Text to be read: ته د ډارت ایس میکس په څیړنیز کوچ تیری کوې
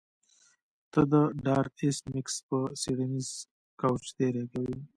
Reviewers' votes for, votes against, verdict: 2, 0, accepted